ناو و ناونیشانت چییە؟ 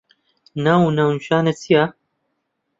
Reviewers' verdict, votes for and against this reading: rejected, 1, 2